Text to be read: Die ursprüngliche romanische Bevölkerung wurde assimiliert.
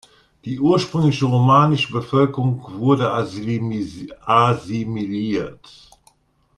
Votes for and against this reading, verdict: 0, 2, rejected